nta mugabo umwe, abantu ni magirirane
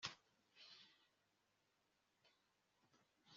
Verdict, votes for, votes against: rejected, 0, 2